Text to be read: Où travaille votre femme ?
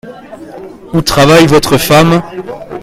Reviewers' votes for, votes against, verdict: 0, 2, rejected